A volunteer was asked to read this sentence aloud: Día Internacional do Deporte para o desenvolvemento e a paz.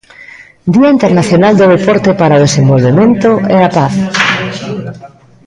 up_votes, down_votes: 1, 2